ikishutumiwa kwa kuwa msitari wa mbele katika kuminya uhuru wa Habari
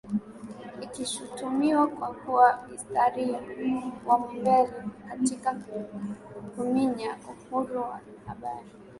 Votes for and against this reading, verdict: 2, 1, accepted